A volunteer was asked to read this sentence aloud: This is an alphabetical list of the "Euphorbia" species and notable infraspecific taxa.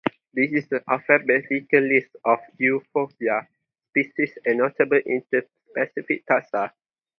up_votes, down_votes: 0, 2